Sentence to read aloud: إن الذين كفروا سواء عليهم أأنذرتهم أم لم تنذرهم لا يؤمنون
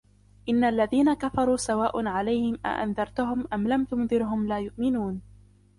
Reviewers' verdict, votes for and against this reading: rejected, 0, 2